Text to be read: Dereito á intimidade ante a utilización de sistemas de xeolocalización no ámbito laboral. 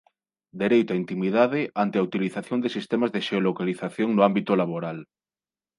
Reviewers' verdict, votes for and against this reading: accepted, 2, 0